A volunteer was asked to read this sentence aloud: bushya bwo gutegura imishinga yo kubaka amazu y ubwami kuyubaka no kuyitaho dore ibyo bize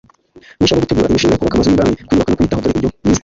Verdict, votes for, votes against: rejected, 1, 2